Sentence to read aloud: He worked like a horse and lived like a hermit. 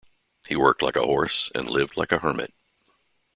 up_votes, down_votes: 2, 0